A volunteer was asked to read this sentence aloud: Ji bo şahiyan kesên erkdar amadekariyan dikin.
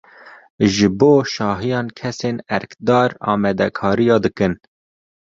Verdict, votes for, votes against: accepted, 2, 0